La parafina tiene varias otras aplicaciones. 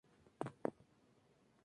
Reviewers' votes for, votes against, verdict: 0, 2, rejected